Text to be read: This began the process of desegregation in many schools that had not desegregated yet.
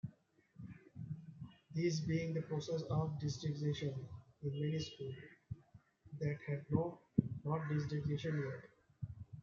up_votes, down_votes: 0, 2